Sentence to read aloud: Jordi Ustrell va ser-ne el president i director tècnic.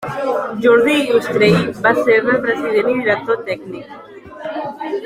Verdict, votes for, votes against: rejected, 0, 2